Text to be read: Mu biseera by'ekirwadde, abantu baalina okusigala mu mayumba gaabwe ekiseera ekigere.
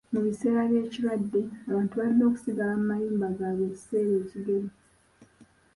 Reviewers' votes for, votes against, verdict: 1, 2, rejected